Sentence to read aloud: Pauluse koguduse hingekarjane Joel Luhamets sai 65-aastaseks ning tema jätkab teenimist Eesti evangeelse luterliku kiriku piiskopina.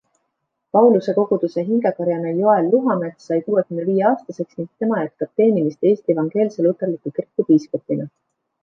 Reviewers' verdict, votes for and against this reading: rejected, 0, 2